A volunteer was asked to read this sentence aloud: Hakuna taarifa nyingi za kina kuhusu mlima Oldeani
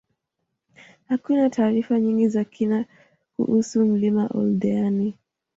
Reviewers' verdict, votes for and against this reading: accepted, 2, 0